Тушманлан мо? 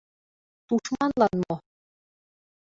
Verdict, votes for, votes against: accepted, 2, 0